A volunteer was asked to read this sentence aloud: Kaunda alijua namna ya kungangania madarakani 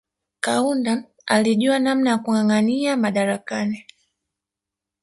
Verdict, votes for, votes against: accepted, 2, 0